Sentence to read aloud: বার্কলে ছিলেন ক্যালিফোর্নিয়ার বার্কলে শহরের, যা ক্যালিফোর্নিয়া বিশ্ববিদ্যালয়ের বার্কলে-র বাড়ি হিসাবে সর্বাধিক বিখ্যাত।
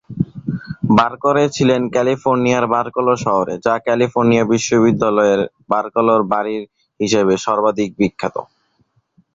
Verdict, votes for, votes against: rejected, 0, 3